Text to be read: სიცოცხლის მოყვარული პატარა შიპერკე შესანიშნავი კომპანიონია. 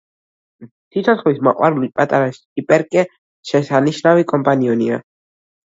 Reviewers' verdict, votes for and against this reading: rejected, 0, 2